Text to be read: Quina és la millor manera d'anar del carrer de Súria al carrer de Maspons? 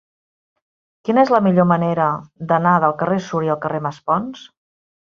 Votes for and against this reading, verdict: 0, 2, rejected